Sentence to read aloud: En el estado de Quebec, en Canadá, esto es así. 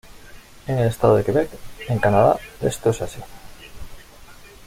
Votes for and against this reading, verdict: 2, 0, accepted